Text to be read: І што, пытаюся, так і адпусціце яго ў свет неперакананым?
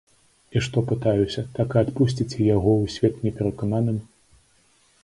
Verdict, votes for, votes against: accepted, 2, 0